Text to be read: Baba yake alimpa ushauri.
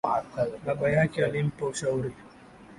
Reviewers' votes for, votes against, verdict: 7, 1, accepted